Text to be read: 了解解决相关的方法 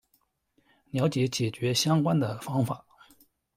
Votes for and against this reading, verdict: 2, 1, accepted